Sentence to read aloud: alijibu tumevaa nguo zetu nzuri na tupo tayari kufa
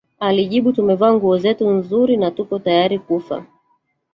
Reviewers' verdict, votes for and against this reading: rejected, 1, 2